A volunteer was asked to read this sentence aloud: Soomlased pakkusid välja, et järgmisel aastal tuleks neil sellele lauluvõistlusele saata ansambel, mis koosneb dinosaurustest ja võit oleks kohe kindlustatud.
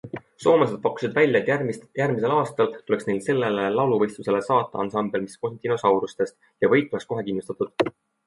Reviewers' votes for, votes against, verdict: 2, 0, accepted